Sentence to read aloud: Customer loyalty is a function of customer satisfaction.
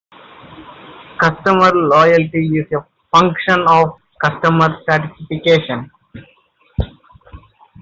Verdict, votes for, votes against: rejected, 1, 2